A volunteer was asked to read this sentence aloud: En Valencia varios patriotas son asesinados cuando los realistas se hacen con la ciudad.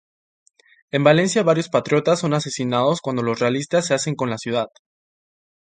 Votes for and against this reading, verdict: 4, 0, accepted